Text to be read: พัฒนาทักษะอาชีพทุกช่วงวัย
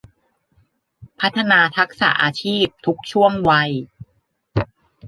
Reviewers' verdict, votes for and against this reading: accepted, 2, 0